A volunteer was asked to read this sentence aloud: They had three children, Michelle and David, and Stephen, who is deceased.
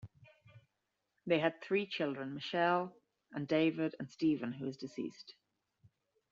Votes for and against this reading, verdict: 2, 0, accepted